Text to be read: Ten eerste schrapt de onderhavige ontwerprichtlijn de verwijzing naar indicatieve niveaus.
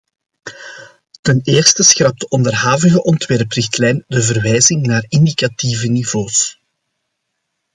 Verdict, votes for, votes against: accepted, 2, 0